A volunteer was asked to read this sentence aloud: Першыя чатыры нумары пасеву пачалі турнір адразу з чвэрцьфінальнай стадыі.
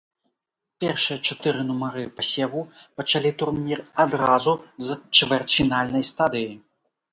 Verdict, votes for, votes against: accepted, 2, 0